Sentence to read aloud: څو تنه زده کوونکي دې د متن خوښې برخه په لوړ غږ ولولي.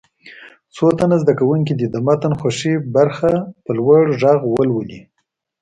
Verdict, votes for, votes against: accepted, 2, 0